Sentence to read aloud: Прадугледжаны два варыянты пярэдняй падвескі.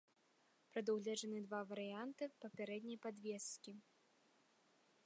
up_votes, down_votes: 1, 2